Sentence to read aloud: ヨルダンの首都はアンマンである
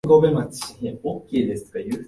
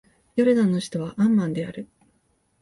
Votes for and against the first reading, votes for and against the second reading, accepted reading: 2, 3, 2, 0, second